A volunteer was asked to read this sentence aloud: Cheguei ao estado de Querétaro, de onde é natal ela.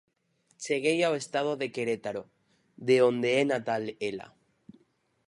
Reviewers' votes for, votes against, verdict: 4, 0, accepted